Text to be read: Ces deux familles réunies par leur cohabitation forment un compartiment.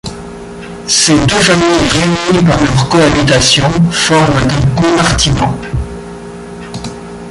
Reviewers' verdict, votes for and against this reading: rejected, 0, 2